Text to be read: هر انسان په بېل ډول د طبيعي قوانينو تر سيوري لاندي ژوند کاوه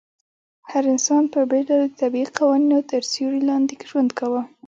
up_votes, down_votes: 1, 2